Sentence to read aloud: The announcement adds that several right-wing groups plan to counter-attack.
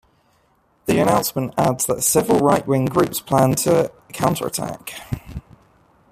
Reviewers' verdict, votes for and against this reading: accepted, 2, 0